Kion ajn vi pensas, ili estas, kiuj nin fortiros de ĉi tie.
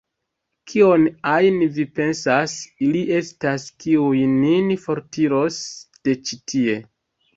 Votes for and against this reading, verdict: 2, 0, accepted